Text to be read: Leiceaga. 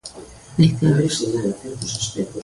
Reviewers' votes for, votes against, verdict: 0, 2, rejected